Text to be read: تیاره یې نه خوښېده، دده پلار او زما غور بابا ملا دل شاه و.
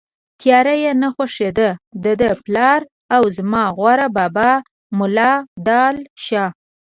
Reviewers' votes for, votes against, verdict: 0, 2, rejected